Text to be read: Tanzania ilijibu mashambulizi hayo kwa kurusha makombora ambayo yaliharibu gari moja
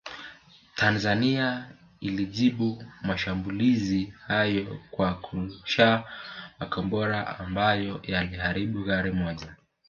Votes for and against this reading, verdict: 2, 3, rejected